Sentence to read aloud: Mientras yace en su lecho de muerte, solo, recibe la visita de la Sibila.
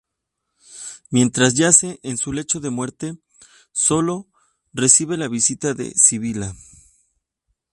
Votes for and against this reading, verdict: 0, 2, rejected